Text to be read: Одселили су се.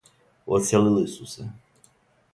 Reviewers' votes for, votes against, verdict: 2, 0, accepted